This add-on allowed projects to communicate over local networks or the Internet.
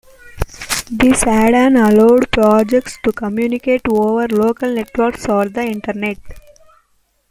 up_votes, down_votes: 1, 2